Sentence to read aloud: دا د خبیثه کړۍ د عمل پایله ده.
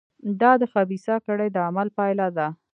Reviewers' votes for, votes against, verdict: 0, 2, rejected